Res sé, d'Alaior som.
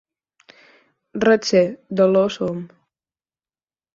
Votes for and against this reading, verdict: 4, 2, accepted